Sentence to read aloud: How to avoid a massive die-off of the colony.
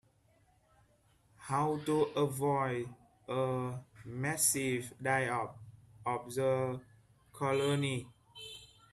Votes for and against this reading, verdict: 2, 3, rejected